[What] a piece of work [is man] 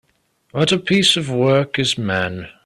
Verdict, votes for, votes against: accepted, 2, 0